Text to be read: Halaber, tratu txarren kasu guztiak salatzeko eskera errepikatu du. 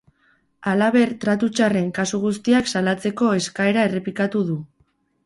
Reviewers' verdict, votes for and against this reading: accepted, 4, 0